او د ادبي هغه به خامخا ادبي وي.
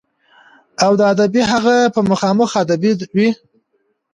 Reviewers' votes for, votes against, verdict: 2, 0, accepted